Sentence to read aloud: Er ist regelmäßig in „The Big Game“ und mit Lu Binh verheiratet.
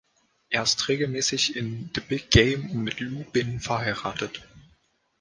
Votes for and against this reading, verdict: 2, 0, accepted